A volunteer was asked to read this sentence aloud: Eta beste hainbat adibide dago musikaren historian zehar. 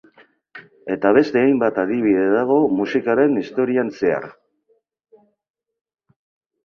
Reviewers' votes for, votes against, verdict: 4, 0, accepted